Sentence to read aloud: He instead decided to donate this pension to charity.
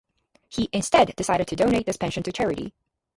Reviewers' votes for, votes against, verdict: 4, 0, accepted